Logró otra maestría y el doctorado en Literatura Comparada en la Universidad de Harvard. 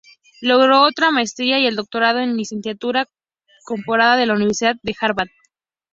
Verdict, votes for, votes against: rejected, 0, 2